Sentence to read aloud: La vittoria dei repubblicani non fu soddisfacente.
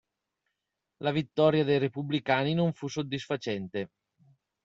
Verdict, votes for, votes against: accepted, 2, 0